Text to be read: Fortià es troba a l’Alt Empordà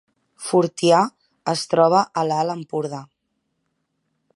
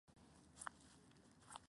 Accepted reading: first